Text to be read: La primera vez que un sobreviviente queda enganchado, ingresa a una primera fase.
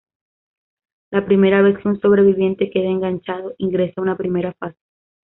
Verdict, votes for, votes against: accepted, 2, 0